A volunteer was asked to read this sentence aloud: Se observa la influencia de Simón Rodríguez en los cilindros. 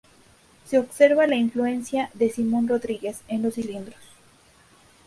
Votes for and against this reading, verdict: 2, 0, accepted